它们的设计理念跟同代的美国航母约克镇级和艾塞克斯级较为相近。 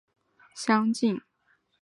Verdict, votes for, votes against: accepted, 4, 3